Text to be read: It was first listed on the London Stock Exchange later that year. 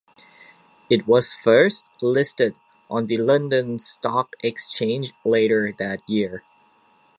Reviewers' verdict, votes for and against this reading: accepted, 2, 0